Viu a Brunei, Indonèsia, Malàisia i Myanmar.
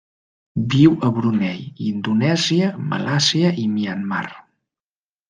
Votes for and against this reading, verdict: 1, 2, rejected